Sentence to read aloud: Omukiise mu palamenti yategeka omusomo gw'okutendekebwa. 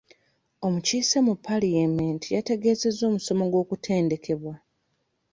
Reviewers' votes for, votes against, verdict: 1, 2, rejected